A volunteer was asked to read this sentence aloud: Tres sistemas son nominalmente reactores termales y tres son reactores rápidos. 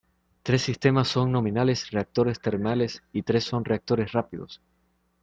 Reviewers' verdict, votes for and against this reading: rejected, 0, 2